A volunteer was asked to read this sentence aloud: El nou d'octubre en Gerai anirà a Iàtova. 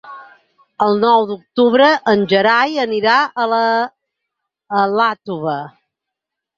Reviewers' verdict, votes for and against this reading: rejected, 2, 4